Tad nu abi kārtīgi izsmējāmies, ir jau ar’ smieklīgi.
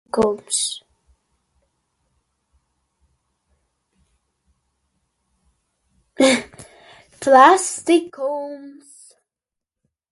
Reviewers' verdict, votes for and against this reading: rejected, 0, 2